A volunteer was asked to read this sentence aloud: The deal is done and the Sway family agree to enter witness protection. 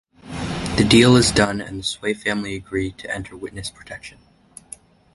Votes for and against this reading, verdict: 2, 1, accepted